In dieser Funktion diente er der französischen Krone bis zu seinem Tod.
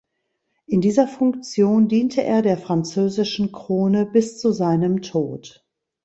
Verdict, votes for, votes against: accepted, 2, 0